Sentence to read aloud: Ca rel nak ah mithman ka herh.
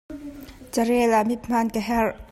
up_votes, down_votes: 1, 2